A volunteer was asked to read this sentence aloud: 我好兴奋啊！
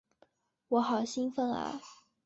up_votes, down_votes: 4, 0